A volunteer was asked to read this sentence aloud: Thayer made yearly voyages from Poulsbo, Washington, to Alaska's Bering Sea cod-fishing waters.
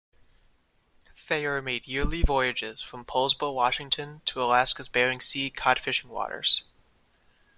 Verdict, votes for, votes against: accepted, 2, 0